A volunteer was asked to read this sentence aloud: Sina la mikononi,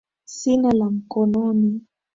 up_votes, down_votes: 2, 1